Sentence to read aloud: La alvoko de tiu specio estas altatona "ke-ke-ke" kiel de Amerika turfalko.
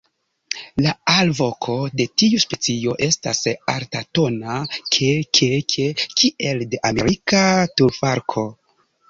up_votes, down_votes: 2, 0